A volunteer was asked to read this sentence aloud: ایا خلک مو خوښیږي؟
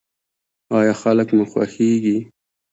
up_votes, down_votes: 2, 0